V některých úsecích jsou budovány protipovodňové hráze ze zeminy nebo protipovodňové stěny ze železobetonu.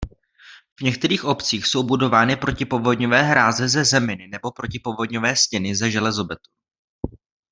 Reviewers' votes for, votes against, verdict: 0, 2, rejected